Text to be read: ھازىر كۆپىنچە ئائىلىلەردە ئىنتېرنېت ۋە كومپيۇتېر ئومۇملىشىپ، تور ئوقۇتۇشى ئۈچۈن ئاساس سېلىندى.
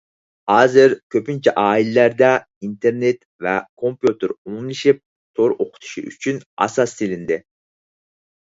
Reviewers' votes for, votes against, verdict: 4, 0, accepted